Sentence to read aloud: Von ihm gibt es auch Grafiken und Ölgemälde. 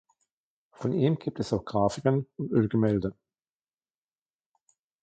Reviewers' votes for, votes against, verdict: 2, 0, accepted